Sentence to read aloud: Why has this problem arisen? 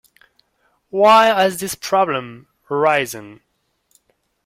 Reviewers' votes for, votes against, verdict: 1, 2, rejected